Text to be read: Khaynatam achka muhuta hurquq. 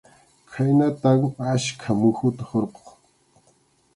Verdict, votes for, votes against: accepted, 2, 0